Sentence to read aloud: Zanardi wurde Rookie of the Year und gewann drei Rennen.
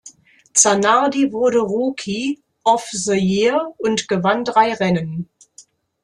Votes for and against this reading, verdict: 0, 2, rejected